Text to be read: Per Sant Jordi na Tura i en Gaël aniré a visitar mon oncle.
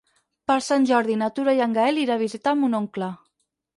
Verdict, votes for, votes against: rejected, 0, 4